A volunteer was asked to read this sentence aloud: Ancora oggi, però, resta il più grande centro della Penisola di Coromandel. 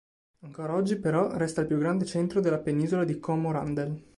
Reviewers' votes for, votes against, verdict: 0, 2, rejected